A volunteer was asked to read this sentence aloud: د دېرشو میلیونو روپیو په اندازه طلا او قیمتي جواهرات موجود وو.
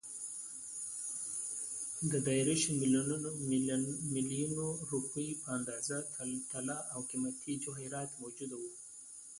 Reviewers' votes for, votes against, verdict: 1, 2, rejected